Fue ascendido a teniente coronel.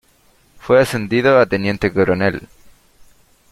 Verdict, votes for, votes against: accepted, 2, 0